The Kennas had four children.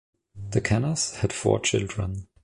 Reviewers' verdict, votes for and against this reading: accepted, 2, 0